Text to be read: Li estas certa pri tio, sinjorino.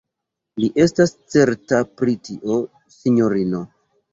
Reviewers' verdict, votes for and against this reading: rejected, 1, 2